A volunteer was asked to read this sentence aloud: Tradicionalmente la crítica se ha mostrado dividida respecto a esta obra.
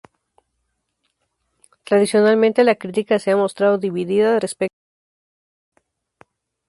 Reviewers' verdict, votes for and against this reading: rejected, 0, 2